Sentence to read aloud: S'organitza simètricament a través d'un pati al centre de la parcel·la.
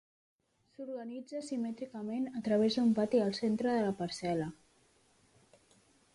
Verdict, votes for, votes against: accepted, 2, 1